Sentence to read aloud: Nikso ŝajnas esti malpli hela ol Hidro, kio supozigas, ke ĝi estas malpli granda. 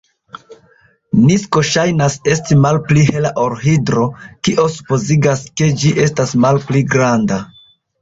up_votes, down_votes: 0, 2